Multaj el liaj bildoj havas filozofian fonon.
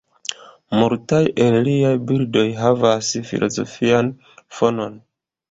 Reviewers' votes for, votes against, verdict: 2, 1, accepted